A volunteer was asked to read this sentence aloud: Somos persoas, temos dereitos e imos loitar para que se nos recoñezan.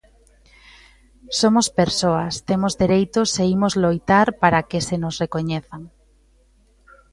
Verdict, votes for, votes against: accepted, 2, 0